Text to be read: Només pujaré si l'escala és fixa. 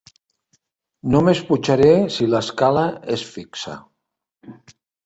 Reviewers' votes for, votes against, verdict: 2, 1, accepted